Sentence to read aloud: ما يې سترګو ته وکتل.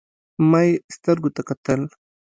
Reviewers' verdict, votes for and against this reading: accepted, 2, 0